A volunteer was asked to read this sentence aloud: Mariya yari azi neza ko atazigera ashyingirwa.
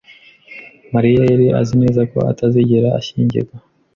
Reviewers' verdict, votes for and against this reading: accepted, 2, 0